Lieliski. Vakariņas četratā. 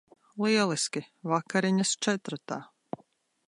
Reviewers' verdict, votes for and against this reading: accepted, 2, 0